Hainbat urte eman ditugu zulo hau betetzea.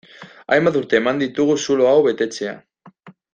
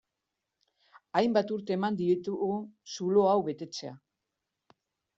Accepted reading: first